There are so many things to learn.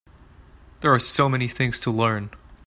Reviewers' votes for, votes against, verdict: 2, 0, accepted